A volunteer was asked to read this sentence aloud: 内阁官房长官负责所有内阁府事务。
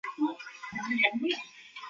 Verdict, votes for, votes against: rejected, 0, 2